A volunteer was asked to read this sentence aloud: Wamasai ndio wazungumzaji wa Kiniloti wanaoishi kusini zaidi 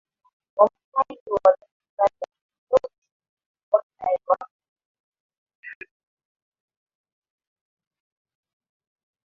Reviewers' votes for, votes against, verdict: 0, 2, rejected